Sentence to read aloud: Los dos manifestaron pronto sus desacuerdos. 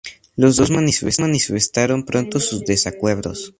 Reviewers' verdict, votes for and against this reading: accepted, 2, 0